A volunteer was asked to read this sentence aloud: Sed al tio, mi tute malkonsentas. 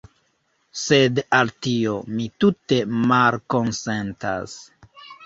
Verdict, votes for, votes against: rejected, 1, 2